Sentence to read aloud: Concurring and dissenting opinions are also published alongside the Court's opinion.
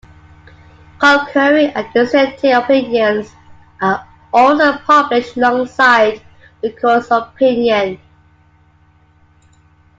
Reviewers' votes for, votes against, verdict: 2, 1, accepted